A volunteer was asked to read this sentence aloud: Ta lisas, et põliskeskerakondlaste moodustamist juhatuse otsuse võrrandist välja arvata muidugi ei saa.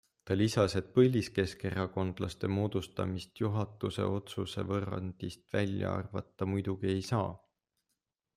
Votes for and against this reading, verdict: 2, 0, accepted